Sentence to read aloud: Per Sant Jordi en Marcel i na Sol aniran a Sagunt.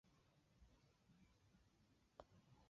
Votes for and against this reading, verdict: 0, 3, rejected